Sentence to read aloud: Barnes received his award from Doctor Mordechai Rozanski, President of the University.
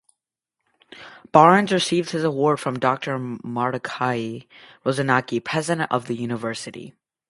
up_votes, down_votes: 2, 2